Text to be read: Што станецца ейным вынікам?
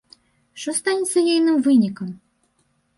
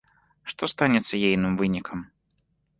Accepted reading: second